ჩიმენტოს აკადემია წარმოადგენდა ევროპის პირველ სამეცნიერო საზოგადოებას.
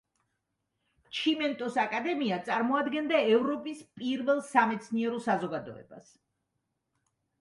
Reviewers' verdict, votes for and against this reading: accepted, 2, 0